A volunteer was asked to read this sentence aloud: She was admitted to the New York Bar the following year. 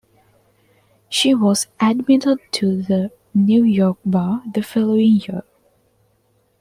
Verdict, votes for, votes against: rejected, 2, 3